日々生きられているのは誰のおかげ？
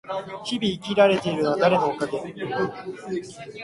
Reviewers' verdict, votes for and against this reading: rejected, 0, 2